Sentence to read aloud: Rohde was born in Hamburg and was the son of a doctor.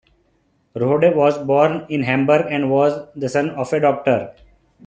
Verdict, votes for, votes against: accepted, 2, 0